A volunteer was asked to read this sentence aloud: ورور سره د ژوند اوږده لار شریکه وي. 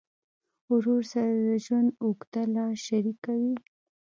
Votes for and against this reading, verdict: 2, 1, accepted